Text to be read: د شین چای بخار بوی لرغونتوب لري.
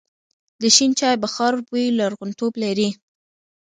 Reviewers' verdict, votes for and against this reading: accepted, 2, 0